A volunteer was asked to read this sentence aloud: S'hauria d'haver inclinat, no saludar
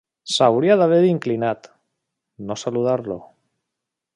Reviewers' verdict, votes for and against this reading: rejected, 0, 2